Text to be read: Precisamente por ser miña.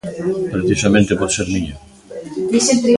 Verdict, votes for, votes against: rejected, 0, 2